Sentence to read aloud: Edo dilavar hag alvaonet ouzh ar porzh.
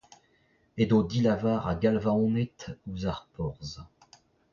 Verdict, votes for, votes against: rejected, 0, 2